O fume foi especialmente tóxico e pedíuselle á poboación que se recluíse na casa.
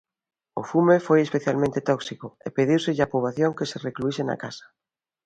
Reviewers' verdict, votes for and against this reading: accepted, 2, 0